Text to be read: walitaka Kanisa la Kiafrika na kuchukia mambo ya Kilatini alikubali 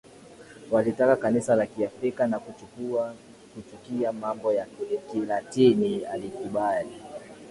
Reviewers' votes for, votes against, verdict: 2, 1, accepted